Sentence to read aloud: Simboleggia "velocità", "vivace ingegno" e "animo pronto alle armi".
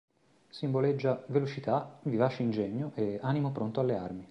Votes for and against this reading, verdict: 2, 0, accepted